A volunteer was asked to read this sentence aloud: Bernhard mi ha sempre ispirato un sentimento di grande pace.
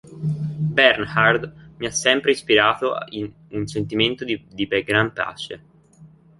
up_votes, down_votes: 0, 2